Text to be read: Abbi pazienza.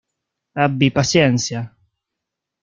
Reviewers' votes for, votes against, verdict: 0, 2, rejected